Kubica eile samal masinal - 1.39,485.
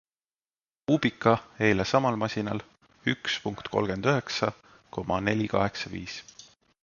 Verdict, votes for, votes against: rejected, 0, 2